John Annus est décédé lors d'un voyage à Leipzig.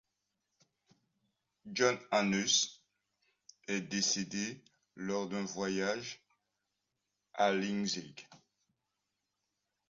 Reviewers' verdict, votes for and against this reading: accepted, 2, 1